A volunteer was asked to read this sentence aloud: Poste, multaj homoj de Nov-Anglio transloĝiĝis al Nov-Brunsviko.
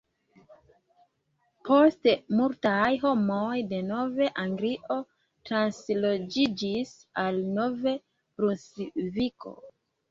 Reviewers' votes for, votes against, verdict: 2, 1, accepted